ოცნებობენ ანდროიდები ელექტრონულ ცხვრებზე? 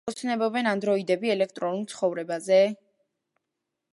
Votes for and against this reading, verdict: 1, 2, rejected